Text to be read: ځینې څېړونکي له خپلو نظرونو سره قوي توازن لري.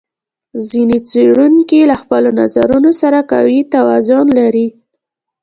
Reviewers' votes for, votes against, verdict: 2, 0, accepted